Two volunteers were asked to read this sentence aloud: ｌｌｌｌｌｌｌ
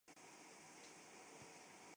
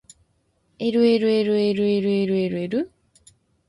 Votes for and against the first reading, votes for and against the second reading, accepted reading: 1, 2, 2, 0, second